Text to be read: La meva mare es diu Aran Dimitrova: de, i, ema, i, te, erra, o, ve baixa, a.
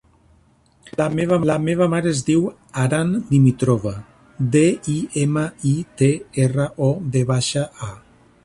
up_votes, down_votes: 1, 2